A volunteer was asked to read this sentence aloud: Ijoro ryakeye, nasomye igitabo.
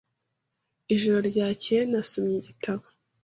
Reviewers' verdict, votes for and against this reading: accepted, 3, 0